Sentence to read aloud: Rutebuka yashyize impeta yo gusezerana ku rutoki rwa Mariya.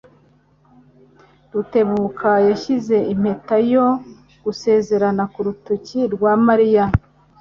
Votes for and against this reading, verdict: 2, 0, accepted